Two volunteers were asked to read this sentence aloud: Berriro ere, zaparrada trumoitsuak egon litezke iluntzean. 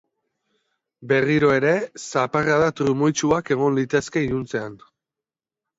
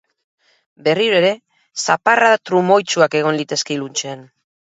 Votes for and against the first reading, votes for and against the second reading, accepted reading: 2, 0, 2, 4, first